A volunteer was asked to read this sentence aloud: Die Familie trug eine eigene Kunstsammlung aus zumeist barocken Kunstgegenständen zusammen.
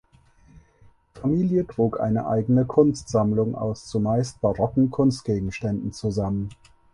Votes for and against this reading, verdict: 0, 4, rejected